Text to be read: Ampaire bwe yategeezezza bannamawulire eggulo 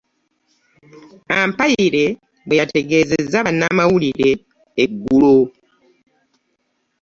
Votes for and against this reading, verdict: 2, 0, accepted